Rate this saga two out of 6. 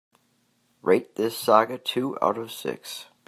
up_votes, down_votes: 0, 2